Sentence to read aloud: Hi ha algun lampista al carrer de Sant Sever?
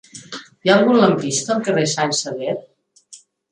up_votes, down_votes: 0, 2